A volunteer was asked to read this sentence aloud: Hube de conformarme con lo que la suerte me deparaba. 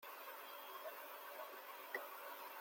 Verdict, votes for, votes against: rejected, 0, 2